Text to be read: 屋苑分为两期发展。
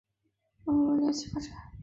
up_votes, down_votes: 4, 7